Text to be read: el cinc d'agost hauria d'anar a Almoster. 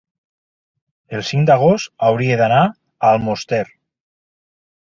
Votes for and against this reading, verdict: 2, 0, accepted